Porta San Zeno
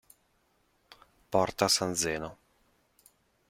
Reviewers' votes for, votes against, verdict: 2, 0, accepted